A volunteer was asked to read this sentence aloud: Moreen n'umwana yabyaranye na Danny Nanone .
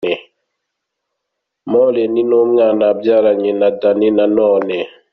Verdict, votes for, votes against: accepted, 2, 0